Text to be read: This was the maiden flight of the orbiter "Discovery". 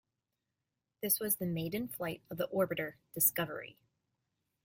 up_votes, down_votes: 2, 0